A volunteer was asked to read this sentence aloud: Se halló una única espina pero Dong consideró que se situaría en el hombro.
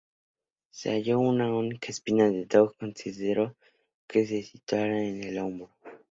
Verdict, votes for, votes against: accepted, 2, 0